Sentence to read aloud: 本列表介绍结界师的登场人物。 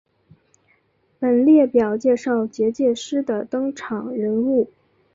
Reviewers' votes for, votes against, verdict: 4, 1, accepted